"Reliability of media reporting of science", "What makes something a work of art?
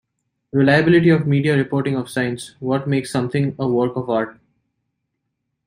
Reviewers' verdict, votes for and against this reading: accepted, 2, 0